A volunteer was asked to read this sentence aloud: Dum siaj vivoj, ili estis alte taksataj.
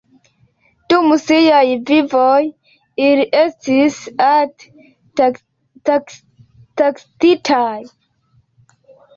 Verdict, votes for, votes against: rejected, 1, 2